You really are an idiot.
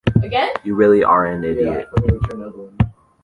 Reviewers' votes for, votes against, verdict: 0, 2, rejected